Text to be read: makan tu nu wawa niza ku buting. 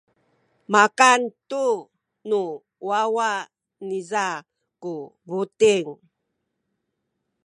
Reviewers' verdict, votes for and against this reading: accepted, 2, 0